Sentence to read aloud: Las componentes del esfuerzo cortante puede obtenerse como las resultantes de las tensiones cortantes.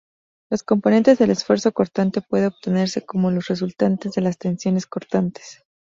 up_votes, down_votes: 2, 0